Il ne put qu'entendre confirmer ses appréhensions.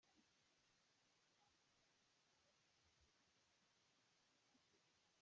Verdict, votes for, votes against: rejected, 0, 2